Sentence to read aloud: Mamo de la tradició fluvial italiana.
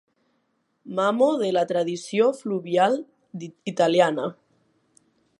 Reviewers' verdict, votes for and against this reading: accepted, 2, 0